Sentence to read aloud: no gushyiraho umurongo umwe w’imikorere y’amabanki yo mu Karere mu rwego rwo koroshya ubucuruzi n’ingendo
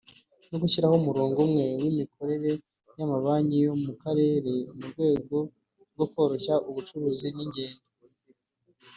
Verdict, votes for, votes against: rejected, 1, 2